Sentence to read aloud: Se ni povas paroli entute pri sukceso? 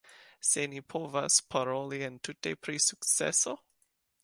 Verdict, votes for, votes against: accepted, 2, 1